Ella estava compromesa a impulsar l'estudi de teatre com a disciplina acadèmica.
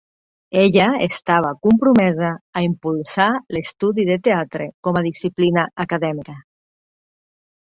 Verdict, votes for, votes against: accepted, 4, 0